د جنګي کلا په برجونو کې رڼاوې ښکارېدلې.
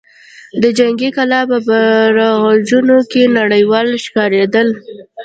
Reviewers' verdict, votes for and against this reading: rejected, 1, 2